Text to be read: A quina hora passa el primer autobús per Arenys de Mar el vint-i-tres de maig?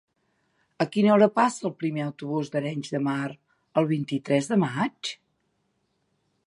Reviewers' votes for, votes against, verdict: 0, 2, rejected